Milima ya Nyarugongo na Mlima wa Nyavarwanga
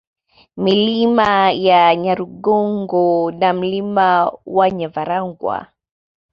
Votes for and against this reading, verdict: 2, 0, accepted